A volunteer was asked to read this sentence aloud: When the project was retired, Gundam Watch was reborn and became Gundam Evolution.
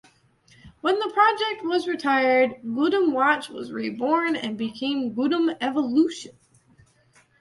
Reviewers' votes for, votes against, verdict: 1, 2, rejected